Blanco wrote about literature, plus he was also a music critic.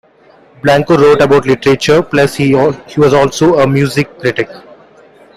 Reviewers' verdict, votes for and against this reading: accepted, 2, 1